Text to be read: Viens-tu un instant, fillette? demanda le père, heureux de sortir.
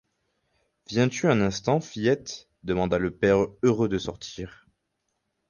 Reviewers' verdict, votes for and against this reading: accepted, 4, 0